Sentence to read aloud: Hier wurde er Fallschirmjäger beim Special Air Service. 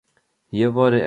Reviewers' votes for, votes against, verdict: 1, 2, rejected